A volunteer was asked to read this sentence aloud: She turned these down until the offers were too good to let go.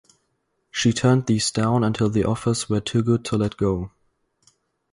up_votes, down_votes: 2, 0